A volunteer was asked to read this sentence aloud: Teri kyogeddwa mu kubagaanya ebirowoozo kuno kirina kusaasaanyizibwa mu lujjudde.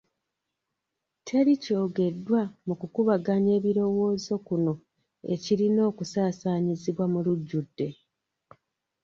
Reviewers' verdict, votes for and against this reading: rejected, 1, 2